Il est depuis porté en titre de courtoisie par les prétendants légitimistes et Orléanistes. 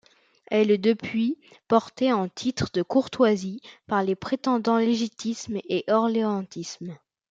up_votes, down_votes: 1, 2